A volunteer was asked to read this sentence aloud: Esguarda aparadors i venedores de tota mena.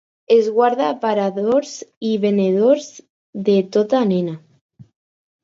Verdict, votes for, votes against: rejected, 2, 4